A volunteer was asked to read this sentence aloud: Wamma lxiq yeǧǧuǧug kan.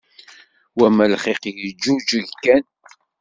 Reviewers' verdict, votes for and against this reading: rejected, 1, 2